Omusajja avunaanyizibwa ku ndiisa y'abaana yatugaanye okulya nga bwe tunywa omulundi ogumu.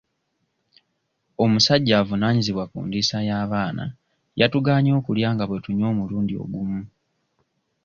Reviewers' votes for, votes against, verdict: 2, 0, accepted